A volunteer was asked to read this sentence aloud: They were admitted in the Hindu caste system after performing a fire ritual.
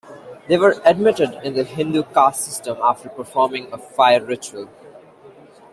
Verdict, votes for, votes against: rejected, 1, 2